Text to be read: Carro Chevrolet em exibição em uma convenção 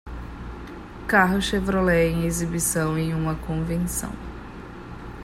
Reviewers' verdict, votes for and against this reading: accepted, 3, 0